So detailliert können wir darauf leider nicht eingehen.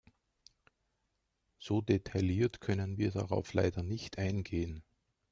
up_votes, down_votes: 2, 0